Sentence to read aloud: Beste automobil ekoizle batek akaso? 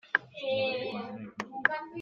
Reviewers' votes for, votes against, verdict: 0, 2, rejected